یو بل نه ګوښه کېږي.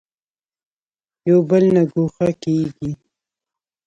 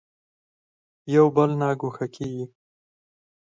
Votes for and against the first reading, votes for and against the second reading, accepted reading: 1, 2, 4, 0, second